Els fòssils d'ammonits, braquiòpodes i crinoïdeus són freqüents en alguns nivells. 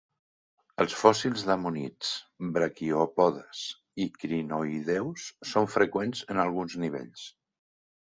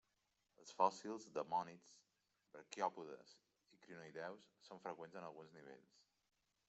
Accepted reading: first